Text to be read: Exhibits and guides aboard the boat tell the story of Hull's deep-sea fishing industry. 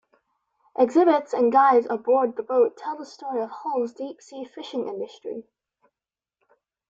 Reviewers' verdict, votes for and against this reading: accepted, 2, 0